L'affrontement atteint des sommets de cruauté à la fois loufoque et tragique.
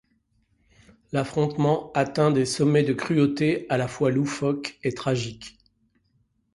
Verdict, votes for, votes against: accepted, 2, 0